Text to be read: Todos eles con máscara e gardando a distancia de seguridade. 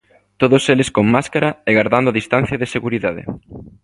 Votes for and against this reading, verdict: 2, 0, accepted